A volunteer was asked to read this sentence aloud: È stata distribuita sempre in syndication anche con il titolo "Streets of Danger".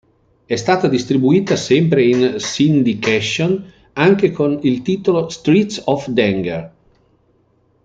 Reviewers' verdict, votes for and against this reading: rejected, 0, 2